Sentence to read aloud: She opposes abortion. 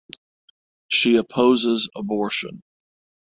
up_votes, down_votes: 6, 0